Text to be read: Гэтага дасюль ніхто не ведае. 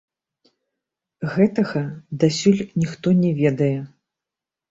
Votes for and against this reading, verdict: 2, 1, accepted